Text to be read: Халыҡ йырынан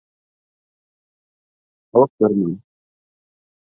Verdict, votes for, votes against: rejected, 0, 2